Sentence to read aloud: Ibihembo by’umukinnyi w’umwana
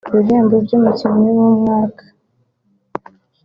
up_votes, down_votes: 1, 2